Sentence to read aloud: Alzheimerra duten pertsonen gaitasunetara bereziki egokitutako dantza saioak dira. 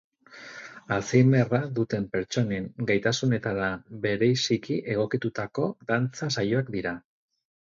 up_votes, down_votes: 2, 4